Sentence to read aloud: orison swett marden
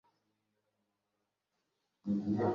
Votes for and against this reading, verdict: 0, 2, rejected